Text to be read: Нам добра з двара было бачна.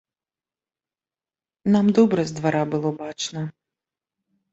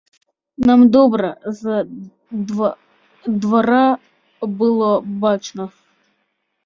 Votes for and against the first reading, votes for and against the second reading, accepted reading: 2, 0, 0, 2, first